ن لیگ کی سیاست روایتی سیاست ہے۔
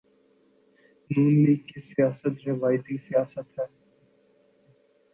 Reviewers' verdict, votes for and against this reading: accepted, 2, 1